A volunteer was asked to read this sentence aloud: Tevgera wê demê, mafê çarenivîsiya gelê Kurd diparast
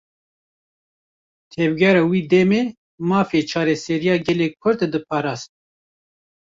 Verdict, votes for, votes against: rejected, 1, 2